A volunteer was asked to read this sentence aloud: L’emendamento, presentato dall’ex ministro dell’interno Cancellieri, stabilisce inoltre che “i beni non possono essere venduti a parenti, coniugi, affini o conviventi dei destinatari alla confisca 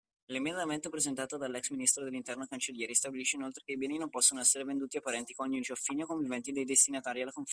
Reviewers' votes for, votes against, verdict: 0, 2, rejected